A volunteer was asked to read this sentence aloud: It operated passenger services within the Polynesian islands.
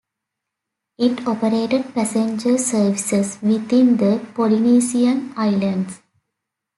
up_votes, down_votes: 2, 0